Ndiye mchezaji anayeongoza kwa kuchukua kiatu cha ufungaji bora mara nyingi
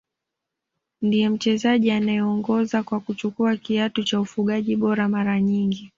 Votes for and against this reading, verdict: 2, 0, accepted